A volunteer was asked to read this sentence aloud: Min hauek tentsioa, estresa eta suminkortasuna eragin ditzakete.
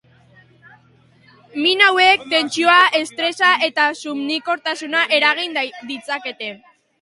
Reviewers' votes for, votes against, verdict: 1, 2, rejected